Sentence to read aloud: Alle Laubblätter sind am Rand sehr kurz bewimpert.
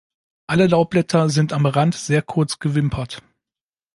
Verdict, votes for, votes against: accepted, 2, 1